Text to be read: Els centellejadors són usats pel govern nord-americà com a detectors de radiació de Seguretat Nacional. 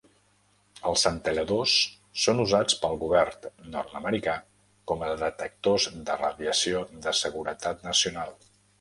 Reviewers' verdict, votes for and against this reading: rejected, 0, 2